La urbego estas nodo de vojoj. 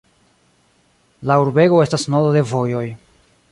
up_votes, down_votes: 2, 0